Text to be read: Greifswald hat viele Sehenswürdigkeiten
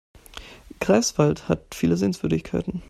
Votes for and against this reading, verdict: 2, 0, accepted